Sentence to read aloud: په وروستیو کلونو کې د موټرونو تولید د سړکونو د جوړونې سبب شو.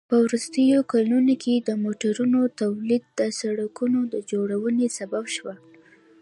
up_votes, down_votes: 1, 2